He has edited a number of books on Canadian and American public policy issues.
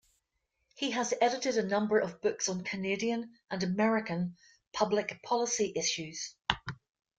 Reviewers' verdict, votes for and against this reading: rejected, 0, 2